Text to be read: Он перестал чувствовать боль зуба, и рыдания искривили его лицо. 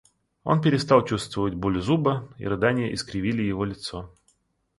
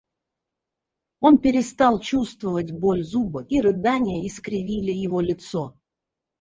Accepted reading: first